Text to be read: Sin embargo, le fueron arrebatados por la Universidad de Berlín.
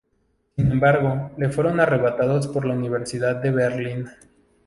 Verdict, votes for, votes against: rejected, 0, 2